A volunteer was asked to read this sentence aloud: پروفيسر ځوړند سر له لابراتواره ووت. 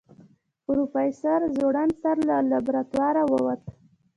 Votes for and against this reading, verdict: 1, 2, rejected